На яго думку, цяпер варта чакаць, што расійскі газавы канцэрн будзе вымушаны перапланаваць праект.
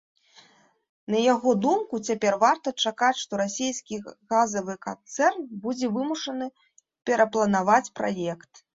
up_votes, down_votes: 2, 0